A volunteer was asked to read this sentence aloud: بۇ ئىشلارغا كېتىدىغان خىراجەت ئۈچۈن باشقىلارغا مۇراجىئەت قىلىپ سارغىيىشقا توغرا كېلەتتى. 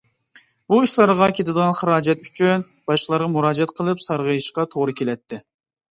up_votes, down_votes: 2, 1